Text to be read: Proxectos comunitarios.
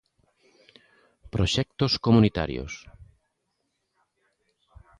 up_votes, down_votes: 2, 0